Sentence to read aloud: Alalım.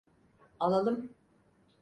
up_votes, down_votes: 4, 0